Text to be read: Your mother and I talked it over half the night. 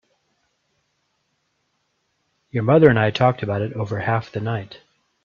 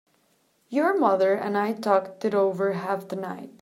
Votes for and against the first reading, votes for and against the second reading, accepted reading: 1, 2, 2, 0, second